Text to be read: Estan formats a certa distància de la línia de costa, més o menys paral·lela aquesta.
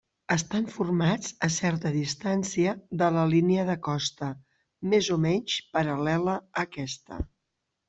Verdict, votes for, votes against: accepted, 2, 0